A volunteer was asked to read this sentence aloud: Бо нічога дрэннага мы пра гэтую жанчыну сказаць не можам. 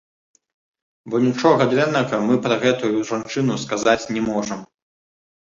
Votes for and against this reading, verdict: 1, 2, rejected